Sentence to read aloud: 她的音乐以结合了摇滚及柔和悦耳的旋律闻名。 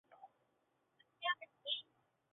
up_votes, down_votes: 0, 6